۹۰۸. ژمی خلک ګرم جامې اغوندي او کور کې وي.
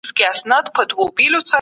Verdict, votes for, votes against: rejected, 0, 2